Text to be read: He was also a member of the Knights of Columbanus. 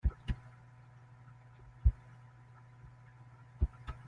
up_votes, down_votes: 0, 2